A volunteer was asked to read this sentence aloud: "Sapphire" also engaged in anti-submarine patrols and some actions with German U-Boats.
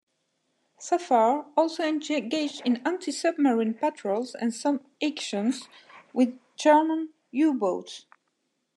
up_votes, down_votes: 1, 2